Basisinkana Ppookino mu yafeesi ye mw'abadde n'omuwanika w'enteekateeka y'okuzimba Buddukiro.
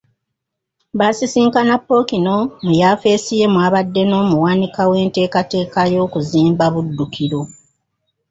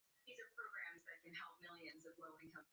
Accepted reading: first